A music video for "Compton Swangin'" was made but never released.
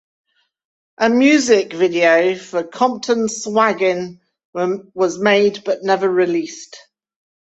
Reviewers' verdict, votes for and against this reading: rejected, 1, 2